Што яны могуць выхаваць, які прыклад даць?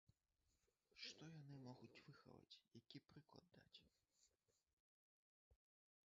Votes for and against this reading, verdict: 0, 2, rejected